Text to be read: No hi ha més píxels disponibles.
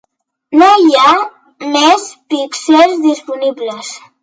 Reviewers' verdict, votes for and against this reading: accepted, 3, 0